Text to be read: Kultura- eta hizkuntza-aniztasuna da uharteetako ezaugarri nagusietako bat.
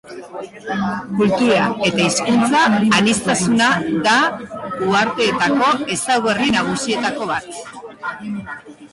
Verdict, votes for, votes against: accepted, 2, 1